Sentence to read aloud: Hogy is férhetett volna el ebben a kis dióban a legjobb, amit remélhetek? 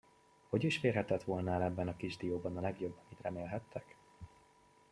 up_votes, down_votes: 0, 2